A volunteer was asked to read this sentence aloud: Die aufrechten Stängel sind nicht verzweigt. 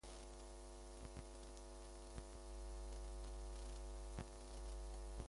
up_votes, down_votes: 0, 2